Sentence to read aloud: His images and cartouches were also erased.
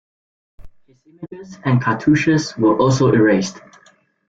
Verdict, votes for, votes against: rejected, 1, 2